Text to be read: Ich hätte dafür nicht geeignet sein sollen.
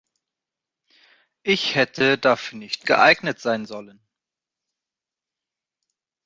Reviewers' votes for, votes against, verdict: 2, 0, accepted